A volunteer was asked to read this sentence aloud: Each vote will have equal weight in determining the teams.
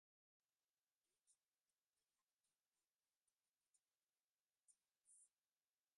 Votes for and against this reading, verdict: 0, 2, rejected